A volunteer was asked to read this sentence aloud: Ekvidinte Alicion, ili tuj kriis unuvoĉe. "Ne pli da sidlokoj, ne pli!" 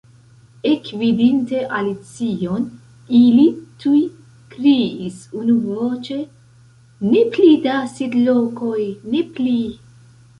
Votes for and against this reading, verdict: 2, 0, accepted